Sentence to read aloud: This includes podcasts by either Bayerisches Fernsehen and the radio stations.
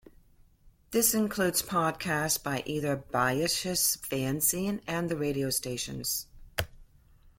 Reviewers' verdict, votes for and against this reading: rejected, 1, 2